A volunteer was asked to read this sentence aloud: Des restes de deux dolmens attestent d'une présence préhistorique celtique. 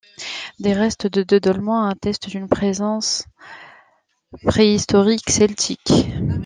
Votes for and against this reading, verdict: 0, 2, rejected